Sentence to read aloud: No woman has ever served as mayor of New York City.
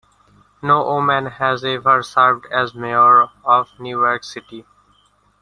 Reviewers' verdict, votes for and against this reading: rejected, 1, 2